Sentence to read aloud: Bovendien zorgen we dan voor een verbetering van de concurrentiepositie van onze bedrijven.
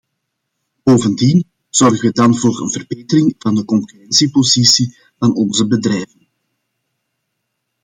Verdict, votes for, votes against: rejected, 0, 2